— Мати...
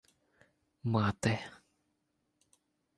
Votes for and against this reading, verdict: 2, 0, accepted